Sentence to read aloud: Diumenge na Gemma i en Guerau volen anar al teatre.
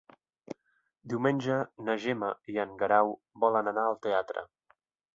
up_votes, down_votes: 2, 0